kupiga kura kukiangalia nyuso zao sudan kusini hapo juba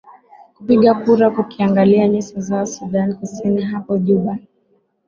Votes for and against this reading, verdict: 3, 0, accepted